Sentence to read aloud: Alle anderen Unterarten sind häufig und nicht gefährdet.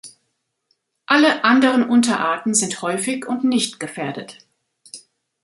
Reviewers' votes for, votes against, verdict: 2, 0, accepted